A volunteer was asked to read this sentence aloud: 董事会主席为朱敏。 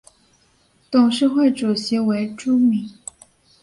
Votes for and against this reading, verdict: 2, 0, accepted